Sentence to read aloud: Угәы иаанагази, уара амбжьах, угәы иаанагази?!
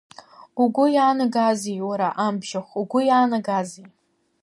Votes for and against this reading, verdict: 0, 2, rejected